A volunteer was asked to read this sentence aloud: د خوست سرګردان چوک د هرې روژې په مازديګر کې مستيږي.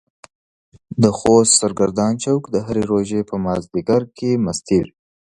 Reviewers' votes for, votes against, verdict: 2, 0, accepted